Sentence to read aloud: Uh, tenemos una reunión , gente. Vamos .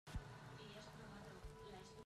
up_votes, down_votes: 0, 2